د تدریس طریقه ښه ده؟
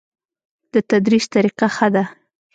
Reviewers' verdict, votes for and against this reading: accepted, 2, 0